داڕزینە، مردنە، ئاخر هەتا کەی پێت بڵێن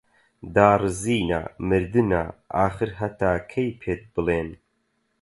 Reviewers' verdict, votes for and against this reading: accepted, 4, 0